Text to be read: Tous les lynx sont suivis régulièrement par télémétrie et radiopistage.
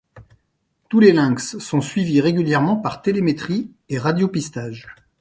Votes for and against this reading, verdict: 2, 0, accepted